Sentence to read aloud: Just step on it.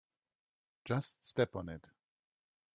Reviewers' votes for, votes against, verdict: 2, 0, accepted